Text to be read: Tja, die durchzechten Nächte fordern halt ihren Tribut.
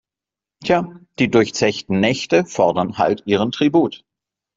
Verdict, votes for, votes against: accepted, 2, 0